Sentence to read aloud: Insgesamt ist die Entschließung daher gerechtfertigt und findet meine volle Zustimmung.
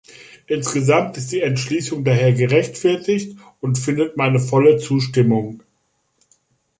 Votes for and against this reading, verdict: 2, 0, accepted